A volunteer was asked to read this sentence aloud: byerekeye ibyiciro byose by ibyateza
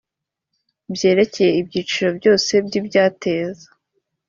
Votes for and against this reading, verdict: 3, 0, accepted